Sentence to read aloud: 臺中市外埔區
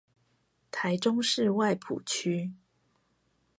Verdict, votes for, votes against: accepted, 4, 0